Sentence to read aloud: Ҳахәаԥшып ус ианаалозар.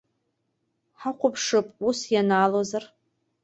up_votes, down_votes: 2, 0